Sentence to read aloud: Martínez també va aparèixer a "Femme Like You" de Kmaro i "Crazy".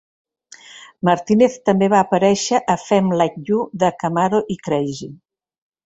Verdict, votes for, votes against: accepted, 2, 0